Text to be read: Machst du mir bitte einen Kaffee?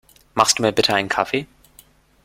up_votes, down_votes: 2, 0